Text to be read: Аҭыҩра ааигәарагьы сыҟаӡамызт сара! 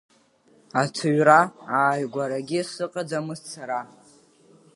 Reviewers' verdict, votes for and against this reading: accepted, 2, 1